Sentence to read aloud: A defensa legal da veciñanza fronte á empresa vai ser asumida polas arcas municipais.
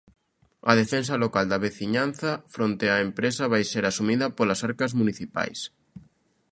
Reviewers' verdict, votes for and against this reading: rejected, 0, 2